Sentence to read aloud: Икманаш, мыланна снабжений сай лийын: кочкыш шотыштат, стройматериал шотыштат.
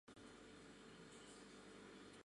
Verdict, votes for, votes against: rejected, 1, 2